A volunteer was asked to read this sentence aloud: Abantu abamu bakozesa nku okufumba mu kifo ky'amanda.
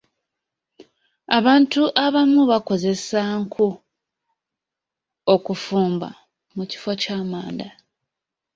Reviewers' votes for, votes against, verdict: 2, 1, accepted